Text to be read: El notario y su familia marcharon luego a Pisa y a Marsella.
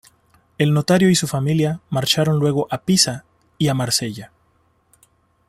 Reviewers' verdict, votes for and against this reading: accepted, 2, 0